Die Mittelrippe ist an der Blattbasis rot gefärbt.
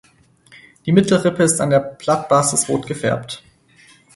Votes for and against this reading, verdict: 2, 4, rejected